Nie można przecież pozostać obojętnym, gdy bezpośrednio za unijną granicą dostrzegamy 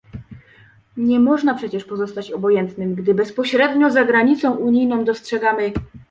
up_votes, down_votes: 0, 2